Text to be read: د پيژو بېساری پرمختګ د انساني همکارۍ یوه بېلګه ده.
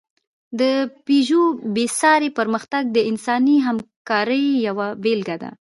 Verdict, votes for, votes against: accepted, 2, 0